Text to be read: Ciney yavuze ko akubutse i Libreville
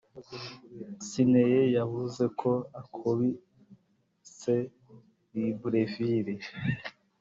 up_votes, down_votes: 1, 2